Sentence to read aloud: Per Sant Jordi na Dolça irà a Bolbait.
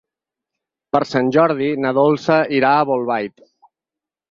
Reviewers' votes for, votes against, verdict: 6, 0, accepted